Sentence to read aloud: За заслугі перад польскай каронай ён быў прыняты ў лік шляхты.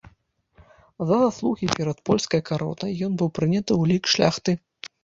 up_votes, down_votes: 0, 2